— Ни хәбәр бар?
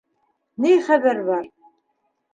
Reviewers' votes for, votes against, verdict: 2, 0, accepted